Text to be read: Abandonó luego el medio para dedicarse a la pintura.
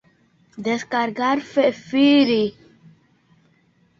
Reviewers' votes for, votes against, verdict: 0, 2, rejected